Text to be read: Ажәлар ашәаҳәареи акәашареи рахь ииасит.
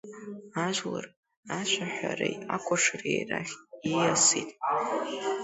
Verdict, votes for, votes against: accepted, 2, 1